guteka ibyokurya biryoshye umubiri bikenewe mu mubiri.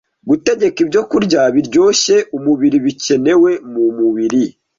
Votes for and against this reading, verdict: 1, 2, rejected